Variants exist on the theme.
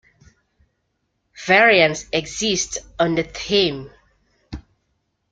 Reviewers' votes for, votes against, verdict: 2, 0, accepted